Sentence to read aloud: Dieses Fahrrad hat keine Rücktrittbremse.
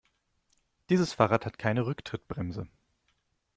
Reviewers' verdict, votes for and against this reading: accepted, 2, 0